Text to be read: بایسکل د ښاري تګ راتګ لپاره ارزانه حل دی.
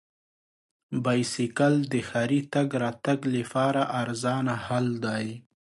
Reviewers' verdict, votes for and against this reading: rejected, 1, 2